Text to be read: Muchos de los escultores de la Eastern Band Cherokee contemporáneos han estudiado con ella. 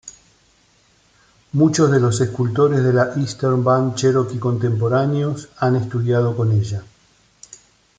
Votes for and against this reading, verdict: 2, 1, accepted